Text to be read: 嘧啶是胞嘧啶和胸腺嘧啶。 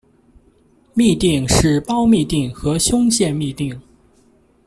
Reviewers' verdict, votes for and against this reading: accepted, 2, 0